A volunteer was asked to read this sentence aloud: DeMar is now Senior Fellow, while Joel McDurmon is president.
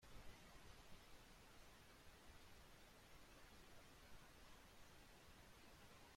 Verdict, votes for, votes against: rejected, 0, 2